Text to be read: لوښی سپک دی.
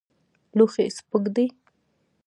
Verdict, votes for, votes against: accepted, 2, 1